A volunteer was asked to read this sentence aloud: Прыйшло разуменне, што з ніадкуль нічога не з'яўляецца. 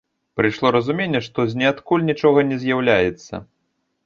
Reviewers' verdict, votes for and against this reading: accepted, 2, 0